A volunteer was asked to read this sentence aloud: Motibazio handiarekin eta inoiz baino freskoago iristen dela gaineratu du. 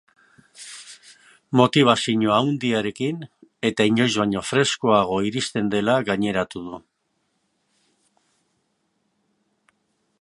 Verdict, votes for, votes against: rejected, 1, 2